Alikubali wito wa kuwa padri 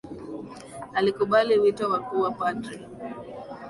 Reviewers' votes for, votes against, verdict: 0, 2, rejected